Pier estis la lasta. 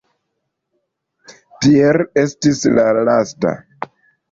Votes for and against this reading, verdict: 1, 2, rejected